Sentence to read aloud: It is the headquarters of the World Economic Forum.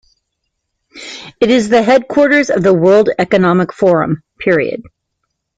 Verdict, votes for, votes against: rejected, 1, 2